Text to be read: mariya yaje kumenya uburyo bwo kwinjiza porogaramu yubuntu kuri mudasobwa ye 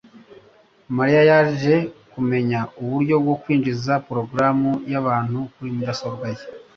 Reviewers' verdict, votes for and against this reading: rejected, 1, 2